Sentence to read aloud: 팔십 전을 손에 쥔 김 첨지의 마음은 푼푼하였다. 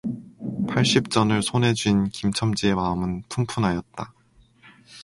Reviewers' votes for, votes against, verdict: 2, 0, accepted